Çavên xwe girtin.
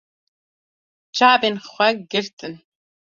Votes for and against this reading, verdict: 2, 0, accepted